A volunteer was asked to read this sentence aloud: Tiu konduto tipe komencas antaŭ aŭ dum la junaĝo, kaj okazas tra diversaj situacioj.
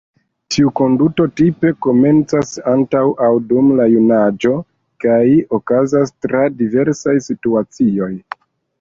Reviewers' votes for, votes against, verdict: 1, 2, rejected